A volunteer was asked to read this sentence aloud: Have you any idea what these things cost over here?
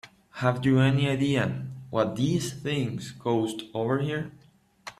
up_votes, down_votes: 0, 3